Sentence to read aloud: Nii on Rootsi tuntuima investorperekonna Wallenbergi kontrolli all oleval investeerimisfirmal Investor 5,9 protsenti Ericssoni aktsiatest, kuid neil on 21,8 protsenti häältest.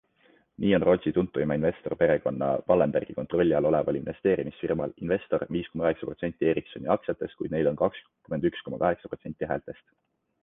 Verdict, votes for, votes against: rejected, 0, 2